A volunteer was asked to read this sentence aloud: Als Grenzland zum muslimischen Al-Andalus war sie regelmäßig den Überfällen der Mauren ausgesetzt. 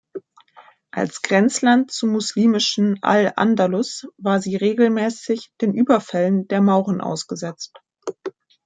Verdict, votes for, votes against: accepted, 2, 1